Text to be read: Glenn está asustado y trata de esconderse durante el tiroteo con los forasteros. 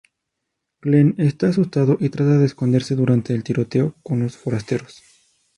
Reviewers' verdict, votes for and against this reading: rejected, 2, 2